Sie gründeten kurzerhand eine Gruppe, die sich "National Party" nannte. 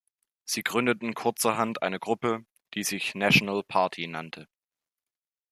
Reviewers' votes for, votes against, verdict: 2, 0, accepted